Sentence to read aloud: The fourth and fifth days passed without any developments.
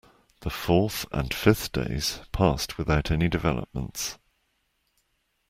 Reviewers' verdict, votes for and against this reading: accepted, 2, 0